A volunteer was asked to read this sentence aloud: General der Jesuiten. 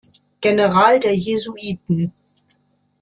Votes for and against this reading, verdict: 2, 0, accepted